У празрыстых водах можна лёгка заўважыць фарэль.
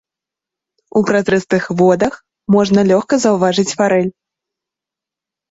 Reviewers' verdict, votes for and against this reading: accepted, 2, 0